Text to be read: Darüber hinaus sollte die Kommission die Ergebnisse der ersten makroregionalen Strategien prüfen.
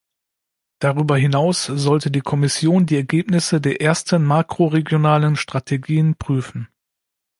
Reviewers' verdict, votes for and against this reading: accepted, 2, 0